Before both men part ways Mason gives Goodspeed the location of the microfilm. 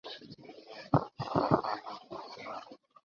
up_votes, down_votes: 0, 2